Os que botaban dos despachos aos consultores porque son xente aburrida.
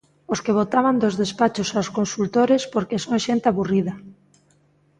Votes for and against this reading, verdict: 2, 0, accepted